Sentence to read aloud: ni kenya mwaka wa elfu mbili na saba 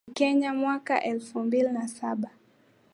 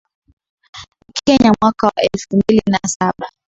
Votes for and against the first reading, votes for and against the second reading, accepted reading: 1, 2, 7, 2, second